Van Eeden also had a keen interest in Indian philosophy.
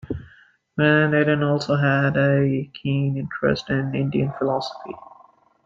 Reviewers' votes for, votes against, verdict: 2, 0, accepted